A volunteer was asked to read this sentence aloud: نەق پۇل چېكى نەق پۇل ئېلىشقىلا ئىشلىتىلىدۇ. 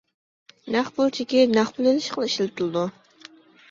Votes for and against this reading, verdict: 2, 0, accepted